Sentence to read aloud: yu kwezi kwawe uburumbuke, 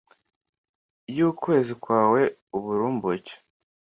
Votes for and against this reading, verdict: 2, 0, accepted